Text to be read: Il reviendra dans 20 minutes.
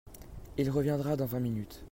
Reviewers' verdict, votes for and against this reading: rejected, 0, 2